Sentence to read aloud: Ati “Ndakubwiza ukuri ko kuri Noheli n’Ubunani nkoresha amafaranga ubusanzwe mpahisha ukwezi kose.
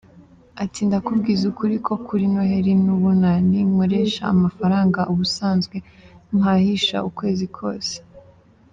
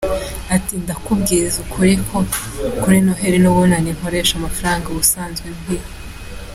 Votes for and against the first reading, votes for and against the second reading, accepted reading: 2, 0, 0, 2, first